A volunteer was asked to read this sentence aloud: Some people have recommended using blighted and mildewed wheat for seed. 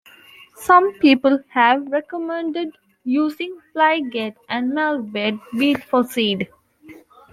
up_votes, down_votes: 2, 1